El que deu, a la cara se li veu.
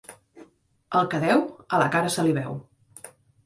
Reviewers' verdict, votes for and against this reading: accepted, 2, 0